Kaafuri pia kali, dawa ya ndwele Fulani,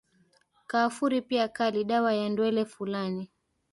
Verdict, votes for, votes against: accepted, 2, 1